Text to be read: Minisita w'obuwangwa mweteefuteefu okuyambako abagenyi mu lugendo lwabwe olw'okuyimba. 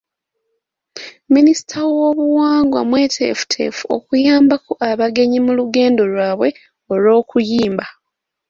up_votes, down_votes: 2, 0